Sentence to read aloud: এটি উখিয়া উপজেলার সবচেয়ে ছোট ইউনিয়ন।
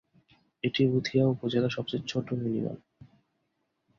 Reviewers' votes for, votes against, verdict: 0, 2, rejected